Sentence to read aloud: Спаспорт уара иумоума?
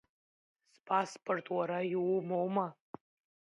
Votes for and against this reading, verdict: 2, 0, accepted